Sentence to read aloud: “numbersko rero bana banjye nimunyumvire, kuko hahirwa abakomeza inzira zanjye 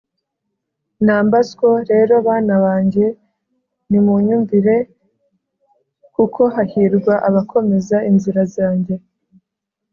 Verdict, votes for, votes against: accepted, 3, 0